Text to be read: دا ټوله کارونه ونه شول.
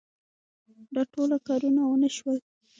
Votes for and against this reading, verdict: 2, 1, accepted